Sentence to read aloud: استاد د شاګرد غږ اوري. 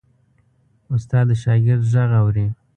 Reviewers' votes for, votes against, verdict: 3, 0, accepted